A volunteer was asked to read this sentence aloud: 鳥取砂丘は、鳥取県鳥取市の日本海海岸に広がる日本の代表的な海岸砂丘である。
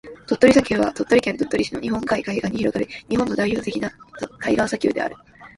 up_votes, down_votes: 1, 2